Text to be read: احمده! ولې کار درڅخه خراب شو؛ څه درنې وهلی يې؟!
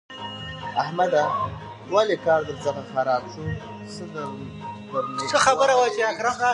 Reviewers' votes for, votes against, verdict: 1, 2, rejected